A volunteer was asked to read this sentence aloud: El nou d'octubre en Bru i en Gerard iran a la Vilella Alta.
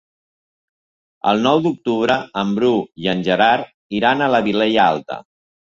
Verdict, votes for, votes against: accepted, 2, 0